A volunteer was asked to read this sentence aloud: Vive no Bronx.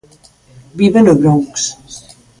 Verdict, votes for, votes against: accepted, 2, 1